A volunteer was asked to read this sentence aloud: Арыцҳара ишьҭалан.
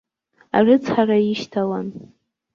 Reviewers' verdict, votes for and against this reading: accepted, 2, 0